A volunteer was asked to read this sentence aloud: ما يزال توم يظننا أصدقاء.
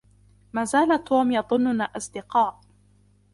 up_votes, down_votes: 1, 2